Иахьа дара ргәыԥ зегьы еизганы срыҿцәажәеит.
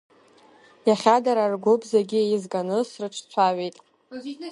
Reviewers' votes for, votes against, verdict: 2, 1, accepted